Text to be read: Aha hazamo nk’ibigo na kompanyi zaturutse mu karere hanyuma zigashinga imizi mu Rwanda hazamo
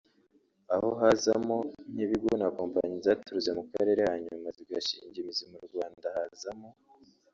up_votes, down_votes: 1, 2